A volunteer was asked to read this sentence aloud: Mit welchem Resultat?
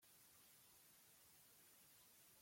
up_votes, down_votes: 0, 2